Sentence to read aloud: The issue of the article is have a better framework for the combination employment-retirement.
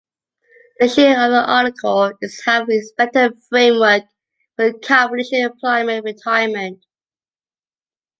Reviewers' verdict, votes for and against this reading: rejected, 0, 2